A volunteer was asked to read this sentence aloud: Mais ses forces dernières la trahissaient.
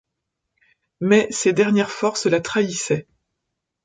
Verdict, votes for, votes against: rejected, 0, 2